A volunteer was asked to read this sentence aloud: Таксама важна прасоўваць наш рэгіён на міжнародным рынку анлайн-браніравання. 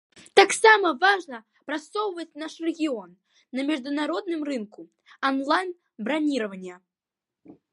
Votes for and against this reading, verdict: 1, 2, rejected